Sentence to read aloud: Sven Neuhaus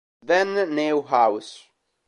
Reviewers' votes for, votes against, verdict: 0, 2, rejected